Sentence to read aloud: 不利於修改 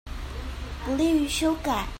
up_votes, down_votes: 2, 0